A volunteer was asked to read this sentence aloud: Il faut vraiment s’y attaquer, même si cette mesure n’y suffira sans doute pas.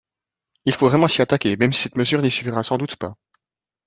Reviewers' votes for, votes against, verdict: 0, 2, rejected